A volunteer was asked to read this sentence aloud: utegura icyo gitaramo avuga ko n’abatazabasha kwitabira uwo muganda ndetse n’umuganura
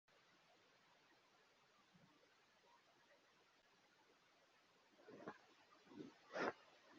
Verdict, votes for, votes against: rejected, 0, 2